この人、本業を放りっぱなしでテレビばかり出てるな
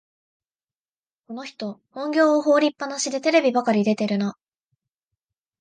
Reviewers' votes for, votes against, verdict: 2, 0, accepted